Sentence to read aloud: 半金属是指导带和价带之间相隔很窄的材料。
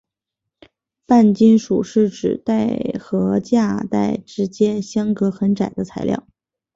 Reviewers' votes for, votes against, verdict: 0, 2, rejected